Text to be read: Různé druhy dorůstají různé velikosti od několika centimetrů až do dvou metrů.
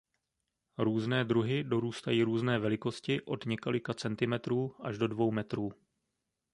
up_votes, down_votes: 2, 0